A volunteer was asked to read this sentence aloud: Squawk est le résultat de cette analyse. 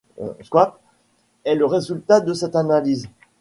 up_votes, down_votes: 1, 2